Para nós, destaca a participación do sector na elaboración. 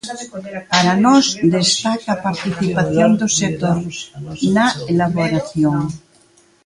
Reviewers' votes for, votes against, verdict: 0, 2, rejected